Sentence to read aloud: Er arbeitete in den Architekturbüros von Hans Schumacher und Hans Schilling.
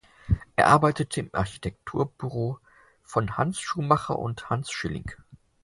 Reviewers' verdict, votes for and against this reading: rejected, 0, 4